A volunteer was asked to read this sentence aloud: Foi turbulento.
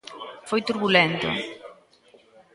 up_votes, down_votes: 2, 0